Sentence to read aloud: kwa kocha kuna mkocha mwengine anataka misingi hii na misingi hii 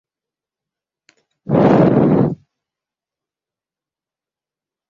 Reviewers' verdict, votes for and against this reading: rejected, 0, 2